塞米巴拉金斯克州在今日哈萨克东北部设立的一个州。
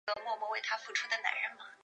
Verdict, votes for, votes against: rejected, 1, 2